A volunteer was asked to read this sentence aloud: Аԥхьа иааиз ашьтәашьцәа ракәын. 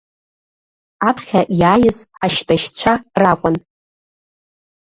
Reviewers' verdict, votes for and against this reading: rejected, 0, 2